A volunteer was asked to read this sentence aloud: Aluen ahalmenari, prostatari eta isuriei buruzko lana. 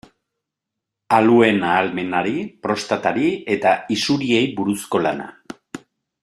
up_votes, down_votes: 2, 0